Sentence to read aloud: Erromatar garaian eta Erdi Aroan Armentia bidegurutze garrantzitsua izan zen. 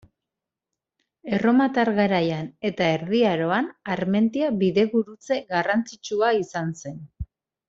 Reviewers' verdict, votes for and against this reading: accepted, 2, 0